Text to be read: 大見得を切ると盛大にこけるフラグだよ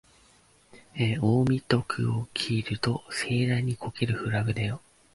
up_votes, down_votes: 0, 2